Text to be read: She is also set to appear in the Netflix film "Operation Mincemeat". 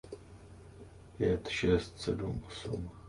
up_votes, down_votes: 0, 2